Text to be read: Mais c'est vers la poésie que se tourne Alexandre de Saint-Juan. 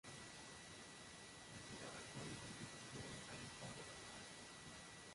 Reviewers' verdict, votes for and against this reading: rejected, 0, 2